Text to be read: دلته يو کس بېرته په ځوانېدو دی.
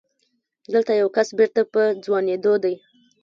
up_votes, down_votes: 2, 1